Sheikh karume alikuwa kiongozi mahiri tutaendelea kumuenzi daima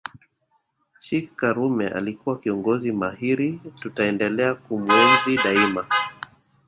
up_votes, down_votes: 0, 2